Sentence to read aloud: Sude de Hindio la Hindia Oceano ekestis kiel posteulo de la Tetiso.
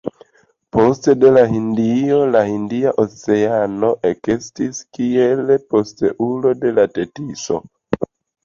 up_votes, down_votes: 1, 2